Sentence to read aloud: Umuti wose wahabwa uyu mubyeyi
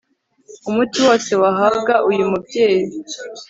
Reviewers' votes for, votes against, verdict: 2, 0, accepted